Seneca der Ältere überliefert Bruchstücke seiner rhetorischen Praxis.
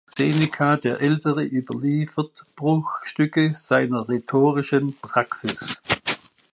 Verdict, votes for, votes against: accepted, 2, 0